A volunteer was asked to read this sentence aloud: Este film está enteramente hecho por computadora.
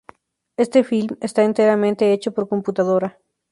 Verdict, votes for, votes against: accepted, 2, 0